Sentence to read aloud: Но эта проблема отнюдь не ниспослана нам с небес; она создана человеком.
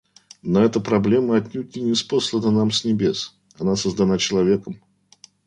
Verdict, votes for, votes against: accepted, 2, 0